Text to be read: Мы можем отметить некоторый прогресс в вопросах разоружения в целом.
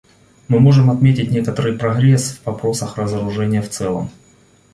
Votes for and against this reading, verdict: 1, 2, rejected